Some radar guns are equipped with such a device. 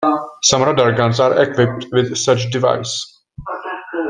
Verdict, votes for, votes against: rejected, 1, 3